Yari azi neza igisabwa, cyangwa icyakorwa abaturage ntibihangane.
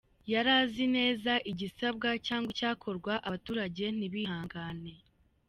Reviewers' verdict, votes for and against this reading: accepted, 2, 1